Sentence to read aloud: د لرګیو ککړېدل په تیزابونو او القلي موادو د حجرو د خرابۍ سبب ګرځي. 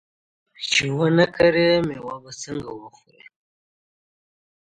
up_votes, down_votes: 1, 2